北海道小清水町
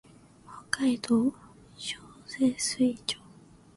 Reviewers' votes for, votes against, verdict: 3, 1, accepted